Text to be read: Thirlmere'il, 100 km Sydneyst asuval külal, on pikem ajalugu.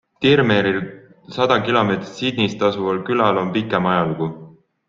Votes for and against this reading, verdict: 0, 2, rejected